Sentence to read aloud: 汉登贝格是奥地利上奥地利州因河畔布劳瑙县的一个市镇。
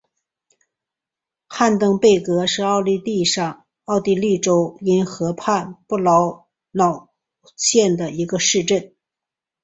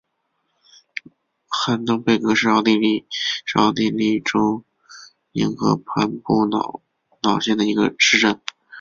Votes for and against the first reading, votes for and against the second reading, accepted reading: 2, 0, 2, 3, first